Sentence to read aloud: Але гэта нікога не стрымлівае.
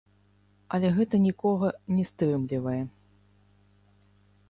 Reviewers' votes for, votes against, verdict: 0, 3, rejected